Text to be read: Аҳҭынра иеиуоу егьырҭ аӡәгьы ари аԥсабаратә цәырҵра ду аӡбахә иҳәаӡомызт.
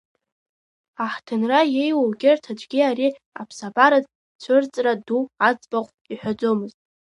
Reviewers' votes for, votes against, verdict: 2, 0, accepted